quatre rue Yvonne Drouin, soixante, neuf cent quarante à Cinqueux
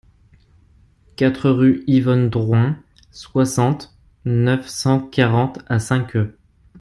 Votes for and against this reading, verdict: 2, 0, accepted